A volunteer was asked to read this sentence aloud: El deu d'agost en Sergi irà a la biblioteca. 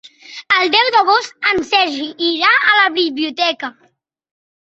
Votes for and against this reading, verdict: 2, 0, accepted